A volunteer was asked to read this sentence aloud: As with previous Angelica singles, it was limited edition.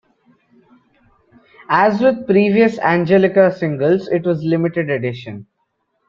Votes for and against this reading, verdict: 2, 1, accepted